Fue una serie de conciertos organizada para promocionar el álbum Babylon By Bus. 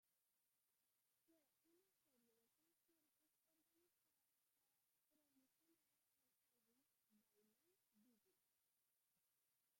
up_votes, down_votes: 0, 2